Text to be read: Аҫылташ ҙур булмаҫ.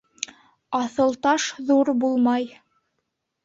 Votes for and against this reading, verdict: 1, 2, rejected